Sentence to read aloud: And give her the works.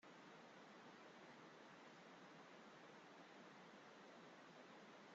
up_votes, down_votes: 0, 2